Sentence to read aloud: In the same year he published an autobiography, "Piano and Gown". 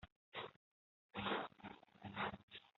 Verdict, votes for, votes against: rejected, 0, 3